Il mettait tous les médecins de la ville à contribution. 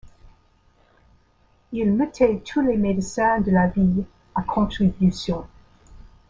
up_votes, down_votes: 0, 2